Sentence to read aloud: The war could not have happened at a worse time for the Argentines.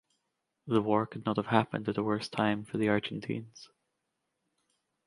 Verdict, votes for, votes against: accepted, 2, 0